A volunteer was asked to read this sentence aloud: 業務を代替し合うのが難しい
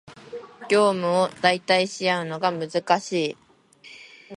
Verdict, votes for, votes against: accepted, 2, 0